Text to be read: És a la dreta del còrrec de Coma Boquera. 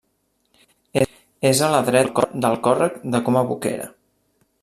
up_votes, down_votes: 0, 2